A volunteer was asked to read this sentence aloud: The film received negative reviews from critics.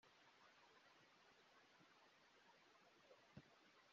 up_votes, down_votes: 0, 2